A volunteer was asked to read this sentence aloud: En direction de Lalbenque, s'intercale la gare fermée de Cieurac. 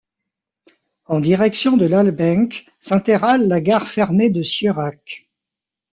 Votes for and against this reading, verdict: 0, 2, rejected